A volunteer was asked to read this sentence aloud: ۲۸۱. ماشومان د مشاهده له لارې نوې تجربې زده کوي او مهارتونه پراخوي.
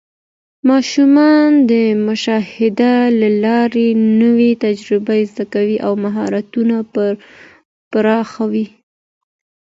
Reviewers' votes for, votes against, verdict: 0, 2, rejected